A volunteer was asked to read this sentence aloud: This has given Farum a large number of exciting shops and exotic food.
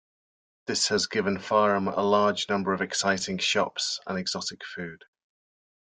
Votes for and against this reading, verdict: 2, 0, accepted